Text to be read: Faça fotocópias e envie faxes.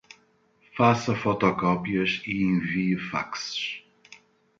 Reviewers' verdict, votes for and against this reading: accepted, 2, 0